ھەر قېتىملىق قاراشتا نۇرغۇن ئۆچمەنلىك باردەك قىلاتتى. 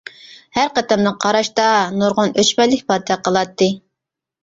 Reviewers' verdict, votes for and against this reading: rejected, 1, 2